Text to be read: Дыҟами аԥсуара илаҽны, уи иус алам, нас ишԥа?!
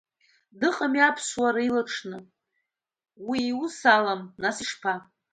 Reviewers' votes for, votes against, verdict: 2, 0, accepted